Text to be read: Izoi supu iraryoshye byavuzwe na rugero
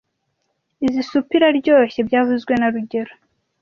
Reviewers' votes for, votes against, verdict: 0, 2, rejected